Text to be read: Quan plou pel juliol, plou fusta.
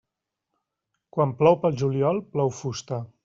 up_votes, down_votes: 3, 0